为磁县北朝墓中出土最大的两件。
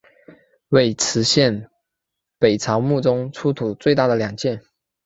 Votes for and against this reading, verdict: 1, 2, rejected